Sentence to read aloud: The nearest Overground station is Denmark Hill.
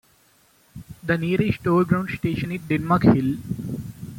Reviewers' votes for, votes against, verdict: 1, 2, rejected